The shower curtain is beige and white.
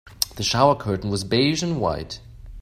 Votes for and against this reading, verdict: 2, 1, accepted